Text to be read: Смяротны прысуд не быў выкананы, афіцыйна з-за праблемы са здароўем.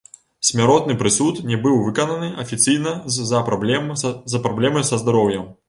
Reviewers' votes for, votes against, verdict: 0, 2, rejected